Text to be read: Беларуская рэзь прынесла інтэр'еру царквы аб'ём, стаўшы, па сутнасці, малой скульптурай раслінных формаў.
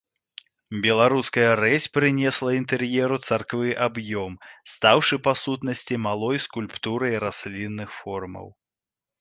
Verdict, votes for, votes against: accepted, 2, 0